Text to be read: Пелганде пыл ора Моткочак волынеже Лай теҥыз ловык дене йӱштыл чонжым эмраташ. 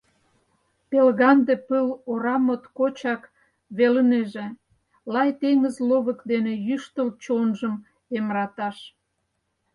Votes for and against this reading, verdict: 0, 4, rejected